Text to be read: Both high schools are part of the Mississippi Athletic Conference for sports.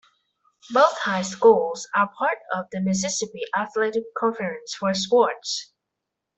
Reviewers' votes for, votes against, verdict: 2, 0, accepted